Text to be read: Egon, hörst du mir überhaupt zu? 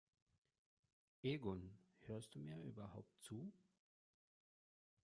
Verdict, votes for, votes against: rejected, 0, 2